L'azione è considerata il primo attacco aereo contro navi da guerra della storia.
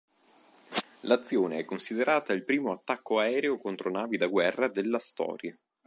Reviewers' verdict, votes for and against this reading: accepted, 2, 0